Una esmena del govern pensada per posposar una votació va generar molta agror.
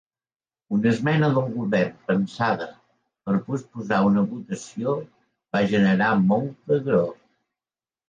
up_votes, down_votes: 2, 0